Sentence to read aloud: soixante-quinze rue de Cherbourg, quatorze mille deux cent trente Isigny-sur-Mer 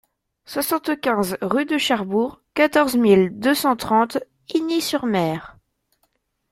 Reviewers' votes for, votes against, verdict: 0, 2, rejected